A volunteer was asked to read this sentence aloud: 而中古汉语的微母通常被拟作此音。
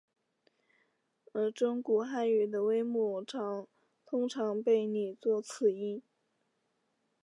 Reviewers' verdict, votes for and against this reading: accepted, 4, 0